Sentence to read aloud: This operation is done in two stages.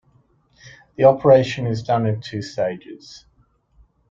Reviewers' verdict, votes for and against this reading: rejected, 1, 2